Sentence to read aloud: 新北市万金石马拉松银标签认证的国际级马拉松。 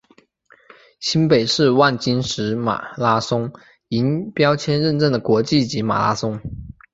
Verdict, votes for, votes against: accepted, 3, 1